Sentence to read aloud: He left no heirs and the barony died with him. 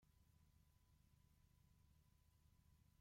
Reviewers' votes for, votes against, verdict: 0, 2, rejected